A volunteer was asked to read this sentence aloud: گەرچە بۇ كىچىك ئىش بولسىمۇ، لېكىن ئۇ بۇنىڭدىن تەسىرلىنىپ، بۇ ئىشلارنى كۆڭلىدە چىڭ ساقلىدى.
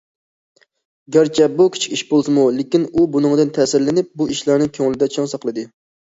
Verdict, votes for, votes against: accepted, 2, 0